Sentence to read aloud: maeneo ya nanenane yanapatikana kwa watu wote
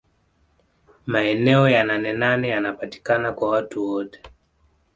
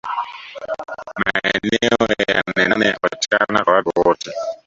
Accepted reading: first